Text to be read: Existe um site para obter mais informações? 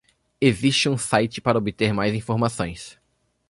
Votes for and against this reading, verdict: 1, 2, rejected